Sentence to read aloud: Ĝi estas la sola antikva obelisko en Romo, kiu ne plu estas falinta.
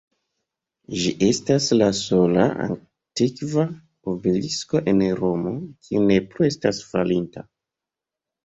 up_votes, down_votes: 2, 1